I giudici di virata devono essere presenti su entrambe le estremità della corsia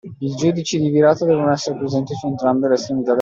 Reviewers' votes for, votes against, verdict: 0, 2, rejected